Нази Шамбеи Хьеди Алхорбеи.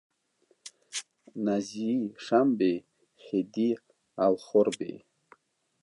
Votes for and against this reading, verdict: 1, 2, rejected